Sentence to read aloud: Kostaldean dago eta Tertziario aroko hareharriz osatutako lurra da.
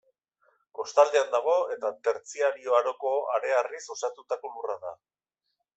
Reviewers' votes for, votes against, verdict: 2, 0, accepted